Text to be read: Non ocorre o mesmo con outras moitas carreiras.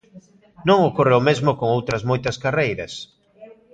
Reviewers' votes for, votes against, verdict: 0, 2, rejected